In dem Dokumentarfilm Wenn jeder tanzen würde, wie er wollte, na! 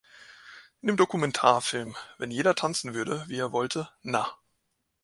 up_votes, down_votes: 2, 0